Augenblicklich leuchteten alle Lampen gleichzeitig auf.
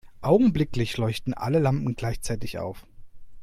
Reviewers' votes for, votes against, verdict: 0, 2, rejected